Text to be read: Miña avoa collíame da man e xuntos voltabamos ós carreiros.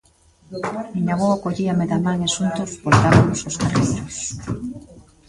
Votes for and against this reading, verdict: 0, 2, rejected